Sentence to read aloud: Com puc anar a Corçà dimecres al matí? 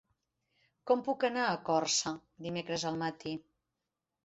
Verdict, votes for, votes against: rejected, 1, 2